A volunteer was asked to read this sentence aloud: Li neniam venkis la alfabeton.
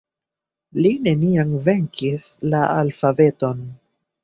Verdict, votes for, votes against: rejected, 1, 2